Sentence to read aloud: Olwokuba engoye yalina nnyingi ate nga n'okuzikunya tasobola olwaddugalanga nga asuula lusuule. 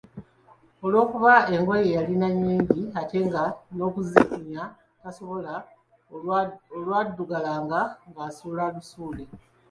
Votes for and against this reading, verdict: 2, 0, accepted